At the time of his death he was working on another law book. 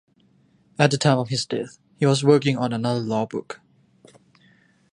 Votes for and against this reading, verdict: 2, 0, accepted